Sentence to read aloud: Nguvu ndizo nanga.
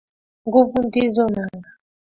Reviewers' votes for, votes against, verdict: 2, 0, accepted